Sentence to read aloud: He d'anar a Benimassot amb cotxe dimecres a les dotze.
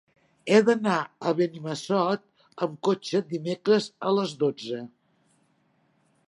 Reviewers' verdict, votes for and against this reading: accepted, 3, 0